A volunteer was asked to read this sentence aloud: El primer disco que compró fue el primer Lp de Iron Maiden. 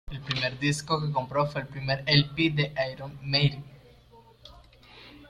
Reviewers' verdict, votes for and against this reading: rejected, 0, 2